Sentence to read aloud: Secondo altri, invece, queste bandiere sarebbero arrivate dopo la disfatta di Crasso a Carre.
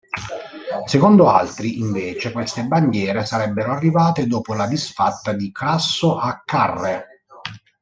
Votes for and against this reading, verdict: 0, 2, rejected